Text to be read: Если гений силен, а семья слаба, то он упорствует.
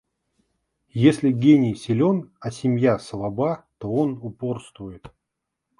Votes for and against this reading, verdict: 2, 0, accepted